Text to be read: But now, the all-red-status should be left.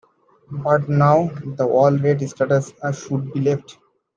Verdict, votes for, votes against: accepted, 2, 1